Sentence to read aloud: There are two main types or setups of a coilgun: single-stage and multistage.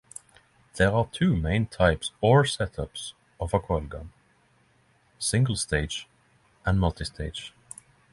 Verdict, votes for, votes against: accepted, 9, 3